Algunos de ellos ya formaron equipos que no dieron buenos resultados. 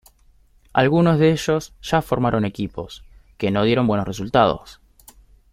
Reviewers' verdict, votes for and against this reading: accepted, 2, 0